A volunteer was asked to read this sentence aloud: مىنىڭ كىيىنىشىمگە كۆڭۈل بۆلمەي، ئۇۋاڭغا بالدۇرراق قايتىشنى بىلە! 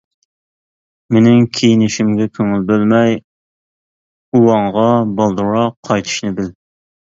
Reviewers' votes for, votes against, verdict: 0, 2, rejected